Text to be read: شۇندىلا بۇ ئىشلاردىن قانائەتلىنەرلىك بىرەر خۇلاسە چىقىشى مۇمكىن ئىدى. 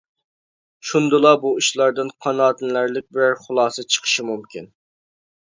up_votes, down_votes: 0, 2